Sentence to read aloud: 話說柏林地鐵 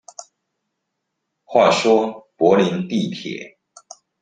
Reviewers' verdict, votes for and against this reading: accepted, 2, 0